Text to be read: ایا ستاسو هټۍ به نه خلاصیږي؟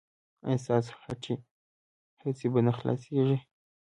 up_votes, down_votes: 0, 2